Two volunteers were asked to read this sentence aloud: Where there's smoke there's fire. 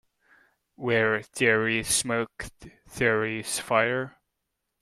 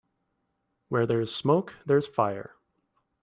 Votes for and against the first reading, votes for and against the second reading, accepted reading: 0, 2, 2, 0, second